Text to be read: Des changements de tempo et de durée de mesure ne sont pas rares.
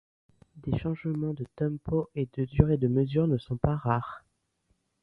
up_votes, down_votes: 2, 0